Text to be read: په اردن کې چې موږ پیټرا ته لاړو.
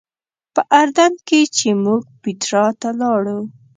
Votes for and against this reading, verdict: 1, 2, rejected